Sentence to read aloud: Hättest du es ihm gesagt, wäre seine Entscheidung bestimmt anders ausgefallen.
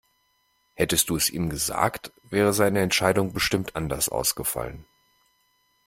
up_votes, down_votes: 2, 0